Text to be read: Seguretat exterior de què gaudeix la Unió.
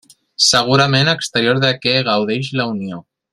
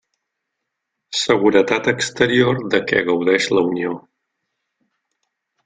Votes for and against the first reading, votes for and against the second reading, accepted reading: 0, 2, 3, 0, second